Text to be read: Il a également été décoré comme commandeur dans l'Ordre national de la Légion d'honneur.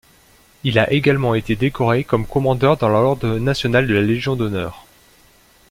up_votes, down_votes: 0, 2